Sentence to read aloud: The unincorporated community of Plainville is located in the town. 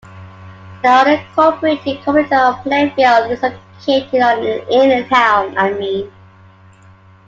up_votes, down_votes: 0, 2